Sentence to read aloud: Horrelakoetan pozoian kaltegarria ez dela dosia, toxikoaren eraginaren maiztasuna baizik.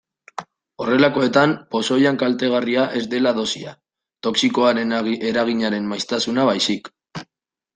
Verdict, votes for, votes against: accepted, 2, 1